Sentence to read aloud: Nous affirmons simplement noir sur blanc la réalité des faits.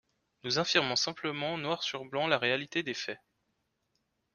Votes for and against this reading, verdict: 2, 0, accepted